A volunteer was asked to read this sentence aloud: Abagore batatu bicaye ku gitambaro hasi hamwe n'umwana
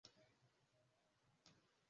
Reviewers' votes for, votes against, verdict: 0, 2, rejected